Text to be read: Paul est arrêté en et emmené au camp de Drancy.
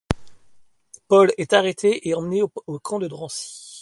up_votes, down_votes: 2, 1